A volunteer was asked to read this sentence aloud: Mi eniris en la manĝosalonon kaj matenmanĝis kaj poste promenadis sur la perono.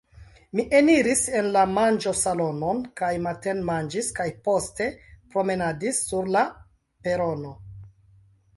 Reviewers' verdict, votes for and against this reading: accepted, 2, 0